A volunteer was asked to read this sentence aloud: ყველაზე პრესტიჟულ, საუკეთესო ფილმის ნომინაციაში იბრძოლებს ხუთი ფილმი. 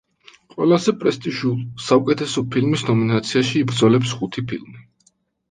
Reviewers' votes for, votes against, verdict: 2, 0, accepted